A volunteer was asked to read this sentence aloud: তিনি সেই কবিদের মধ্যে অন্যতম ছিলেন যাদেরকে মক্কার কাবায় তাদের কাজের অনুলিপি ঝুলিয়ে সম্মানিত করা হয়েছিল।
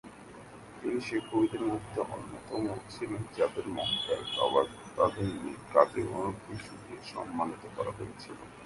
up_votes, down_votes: 3, 7